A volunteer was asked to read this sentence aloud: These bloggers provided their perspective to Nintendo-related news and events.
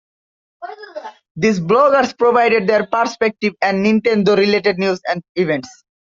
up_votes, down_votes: 2, 0